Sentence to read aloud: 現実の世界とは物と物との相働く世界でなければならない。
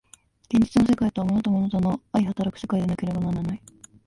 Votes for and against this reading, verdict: 1, 2, rejected